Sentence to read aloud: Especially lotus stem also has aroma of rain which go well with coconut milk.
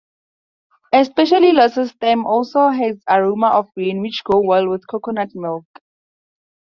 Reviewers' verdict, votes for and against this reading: accepted, 4, 2